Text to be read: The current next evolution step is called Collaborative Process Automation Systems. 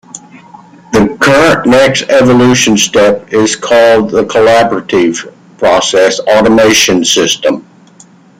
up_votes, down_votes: 2, 1